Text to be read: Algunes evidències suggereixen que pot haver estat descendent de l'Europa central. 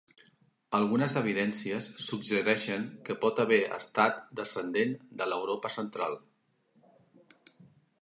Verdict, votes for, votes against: accepted, 3, 0